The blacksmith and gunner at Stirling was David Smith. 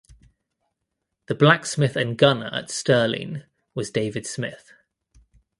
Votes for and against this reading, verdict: 2, 0, accepted